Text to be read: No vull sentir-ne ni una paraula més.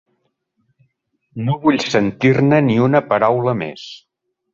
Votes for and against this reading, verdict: 3, 0, accepted